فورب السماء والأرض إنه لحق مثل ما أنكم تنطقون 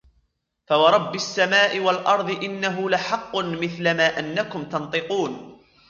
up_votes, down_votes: 2, 1